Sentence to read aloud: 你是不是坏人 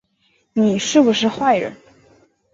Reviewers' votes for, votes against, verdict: 3, 0, accepted